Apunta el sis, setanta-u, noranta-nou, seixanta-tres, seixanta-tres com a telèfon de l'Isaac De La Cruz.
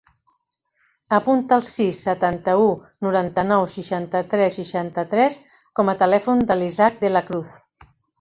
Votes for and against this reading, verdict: 3, 0, accepted